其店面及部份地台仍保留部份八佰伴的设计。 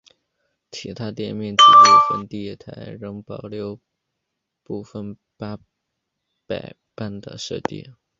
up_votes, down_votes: 0, 2